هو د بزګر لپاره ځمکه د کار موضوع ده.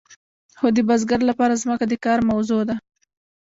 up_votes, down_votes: 0, 2